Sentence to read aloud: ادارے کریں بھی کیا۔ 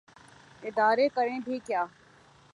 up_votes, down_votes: 2, 0